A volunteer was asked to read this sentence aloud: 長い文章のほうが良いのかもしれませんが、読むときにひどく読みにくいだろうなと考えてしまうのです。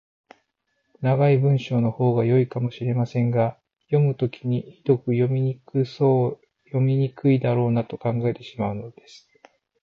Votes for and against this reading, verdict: 0, 4, rejected